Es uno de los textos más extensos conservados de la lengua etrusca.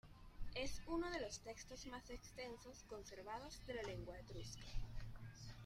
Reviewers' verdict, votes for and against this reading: rejected, 1, 2